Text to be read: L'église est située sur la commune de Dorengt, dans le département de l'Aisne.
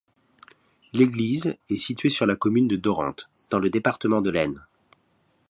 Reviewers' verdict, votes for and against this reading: accepted, 2, 0